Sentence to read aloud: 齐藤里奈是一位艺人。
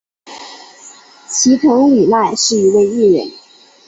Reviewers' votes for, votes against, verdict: 4, 0, accepted